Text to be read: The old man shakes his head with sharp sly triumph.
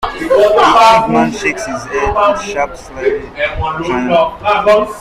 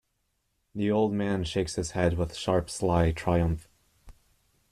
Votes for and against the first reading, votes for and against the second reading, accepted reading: 0, 2, 2, 0, second